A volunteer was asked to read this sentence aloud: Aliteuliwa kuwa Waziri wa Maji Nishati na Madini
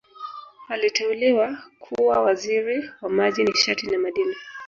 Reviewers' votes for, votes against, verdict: 0, 2, rejected